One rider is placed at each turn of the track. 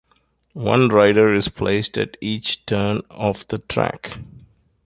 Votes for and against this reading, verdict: 2, 0, accepted